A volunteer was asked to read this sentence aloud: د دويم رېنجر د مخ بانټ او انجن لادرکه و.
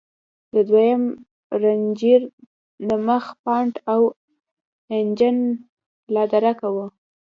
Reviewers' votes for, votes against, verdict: 2, 0, accepted